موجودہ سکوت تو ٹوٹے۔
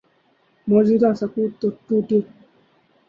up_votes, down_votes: 0, 2